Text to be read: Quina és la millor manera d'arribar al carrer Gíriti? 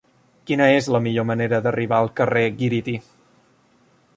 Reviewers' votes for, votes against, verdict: 0, 2, rejected